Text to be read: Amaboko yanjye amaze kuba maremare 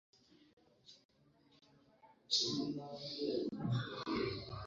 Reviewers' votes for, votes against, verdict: 0, 2, rejected